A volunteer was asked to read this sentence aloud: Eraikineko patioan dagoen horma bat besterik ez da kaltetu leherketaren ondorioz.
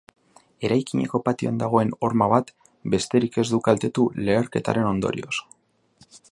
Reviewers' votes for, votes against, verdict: 0, 2, rejected